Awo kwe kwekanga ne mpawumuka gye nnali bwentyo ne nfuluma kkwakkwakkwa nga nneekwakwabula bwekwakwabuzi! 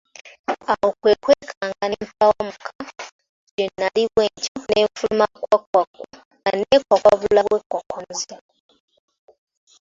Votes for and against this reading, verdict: 2, 1, accepted